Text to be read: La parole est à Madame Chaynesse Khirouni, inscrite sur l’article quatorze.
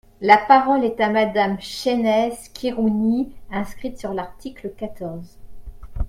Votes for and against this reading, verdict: 3, 0, accepted